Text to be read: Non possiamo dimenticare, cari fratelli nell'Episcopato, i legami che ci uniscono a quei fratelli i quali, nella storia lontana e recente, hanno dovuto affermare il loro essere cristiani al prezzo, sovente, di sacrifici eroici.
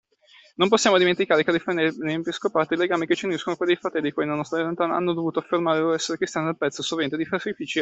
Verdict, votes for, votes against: rejected, 0, 2